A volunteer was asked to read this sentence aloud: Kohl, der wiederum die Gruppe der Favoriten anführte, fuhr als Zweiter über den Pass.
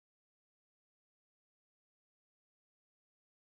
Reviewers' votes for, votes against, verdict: 0, 4, rejected